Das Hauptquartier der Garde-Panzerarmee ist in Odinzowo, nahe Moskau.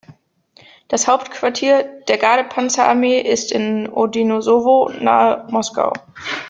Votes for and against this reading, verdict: 0, 2, rejected